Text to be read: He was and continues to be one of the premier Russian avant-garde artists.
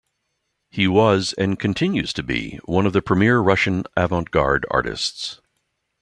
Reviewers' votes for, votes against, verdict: 2, 0, accepted